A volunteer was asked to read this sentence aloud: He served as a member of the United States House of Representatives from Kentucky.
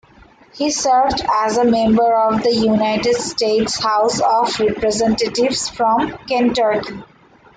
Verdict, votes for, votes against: rejected, 1, 2